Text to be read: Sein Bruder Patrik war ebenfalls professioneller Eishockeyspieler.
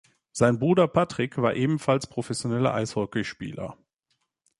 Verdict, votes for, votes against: accepted, 2, 0